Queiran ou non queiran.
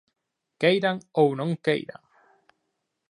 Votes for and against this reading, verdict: 2, 0, accepted